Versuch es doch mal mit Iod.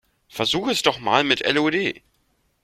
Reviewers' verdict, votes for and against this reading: rejected, 0, 2